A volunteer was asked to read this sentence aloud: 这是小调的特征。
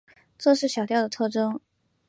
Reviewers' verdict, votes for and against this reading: accepted, 4, 0